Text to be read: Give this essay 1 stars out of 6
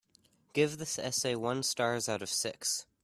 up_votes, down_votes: 0, 2